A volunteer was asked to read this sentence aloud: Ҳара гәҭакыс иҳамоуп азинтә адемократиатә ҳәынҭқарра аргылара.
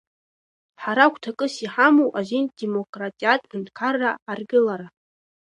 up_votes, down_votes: 0, 2